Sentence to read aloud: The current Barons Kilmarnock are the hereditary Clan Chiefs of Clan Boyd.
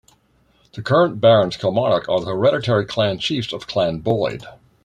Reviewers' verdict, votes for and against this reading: accepted, 2, 0